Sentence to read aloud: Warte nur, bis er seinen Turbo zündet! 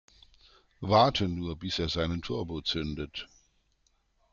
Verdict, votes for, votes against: accepted, 2, 0